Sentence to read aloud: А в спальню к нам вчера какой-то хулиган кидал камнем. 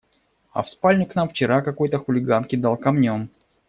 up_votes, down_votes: 1, 2